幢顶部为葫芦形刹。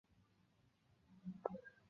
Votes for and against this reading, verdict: 0, 2, rejected